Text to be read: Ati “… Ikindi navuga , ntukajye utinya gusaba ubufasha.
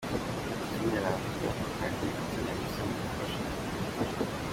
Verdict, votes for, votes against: accepted, 2, 0